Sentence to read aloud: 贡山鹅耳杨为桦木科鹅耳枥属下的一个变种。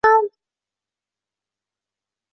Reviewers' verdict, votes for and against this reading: rejected, 0, 2